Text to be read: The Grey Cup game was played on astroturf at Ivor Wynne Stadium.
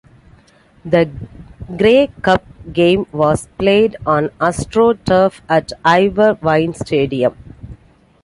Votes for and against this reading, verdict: 2, 0, accepted